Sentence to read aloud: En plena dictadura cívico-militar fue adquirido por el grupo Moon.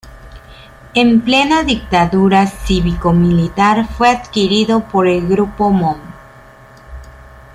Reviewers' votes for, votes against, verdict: 2, 0, accepted